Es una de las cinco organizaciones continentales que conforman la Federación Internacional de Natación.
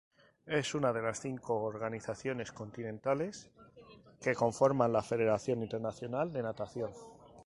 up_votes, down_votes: 2, 0